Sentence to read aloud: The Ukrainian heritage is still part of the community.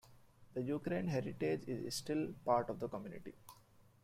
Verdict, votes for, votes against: rejected, 1, 2